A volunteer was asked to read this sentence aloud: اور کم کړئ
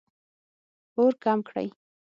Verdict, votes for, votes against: accepted, 6, 0